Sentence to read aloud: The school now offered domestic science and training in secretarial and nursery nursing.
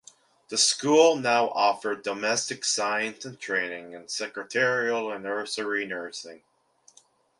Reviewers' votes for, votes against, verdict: 2, 1, accepted